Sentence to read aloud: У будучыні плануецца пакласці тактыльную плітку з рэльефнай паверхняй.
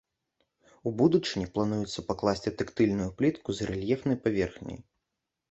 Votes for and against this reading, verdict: 2, 0, accepted